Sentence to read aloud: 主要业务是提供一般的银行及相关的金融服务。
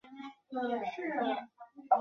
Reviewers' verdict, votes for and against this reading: rejected, 0, 2